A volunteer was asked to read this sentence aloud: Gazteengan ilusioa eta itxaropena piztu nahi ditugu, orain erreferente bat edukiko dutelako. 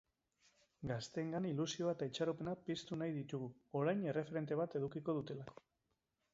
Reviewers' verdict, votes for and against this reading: rejected, 1, 2